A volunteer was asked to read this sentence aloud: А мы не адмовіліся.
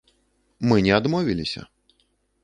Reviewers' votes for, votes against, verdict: 1, 2, rejected